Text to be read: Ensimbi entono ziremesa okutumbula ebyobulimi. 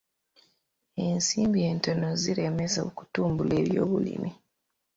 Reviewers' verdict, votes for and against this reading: accepted, 2, 0